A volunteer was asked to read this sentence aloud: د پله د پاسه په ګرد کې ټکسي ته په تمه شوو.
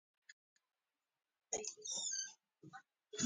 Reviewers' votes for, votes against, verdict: 1, 2, rejected